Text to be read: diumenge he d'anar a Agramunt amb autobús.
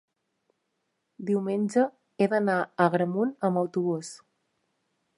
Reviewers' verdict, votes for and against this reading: accepted, 4, 0